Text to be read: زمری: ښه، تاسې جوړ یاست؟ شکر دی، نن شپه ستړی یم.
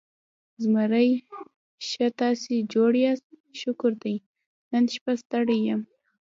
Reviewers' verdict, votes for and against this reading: rejected, 1, 2